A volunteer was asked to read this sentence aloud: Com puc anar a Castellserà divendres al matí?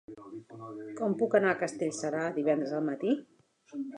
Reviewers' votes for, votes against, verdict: 4, 1, accepted